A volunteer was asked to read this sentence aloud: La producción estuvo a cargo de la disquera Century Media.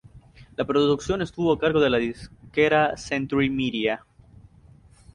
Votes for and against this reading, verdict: 0, 2, rejected